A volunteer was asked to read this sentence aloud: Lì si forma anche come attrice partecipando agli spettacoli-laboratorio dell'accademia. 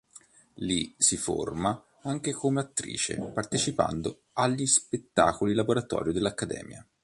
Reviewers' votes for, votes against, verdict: 4, 0, accepted